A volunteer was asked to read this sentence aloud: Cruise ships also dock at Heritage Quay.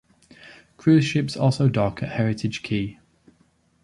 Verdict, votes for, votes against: accepted, 2, 1